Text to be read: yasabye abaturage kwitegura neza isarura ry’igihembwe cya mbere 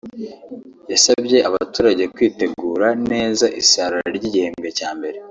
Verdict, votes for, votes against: accepted, 2, 1